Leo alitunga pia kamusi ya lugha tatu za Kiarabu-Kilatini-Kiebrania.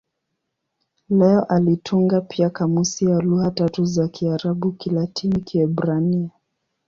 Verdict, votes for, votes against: accepted, 5, 2